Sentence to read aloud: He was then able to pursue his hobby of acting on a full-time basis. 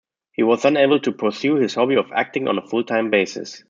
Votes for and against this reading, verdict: 2, 0, accepted